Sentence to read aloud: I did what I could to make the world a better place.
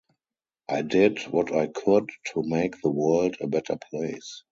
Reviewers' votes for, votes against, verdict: 0, 2, rejected